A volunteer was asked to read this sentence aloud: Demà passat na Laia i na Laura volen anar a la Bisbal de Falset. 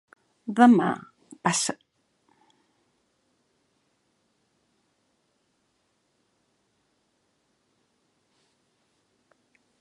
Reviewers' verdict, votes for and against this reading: rejected, 0, 2